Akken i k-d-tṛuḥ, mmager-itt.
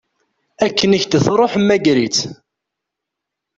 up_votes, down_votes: 2, 1